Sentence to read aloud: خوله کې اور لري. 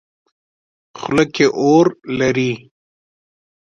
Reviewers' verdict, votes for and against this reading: accepted, 2, 0